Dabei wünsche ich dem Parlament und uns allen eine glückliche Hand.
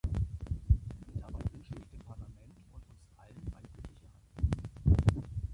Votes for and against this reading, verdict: 0, 2, rejected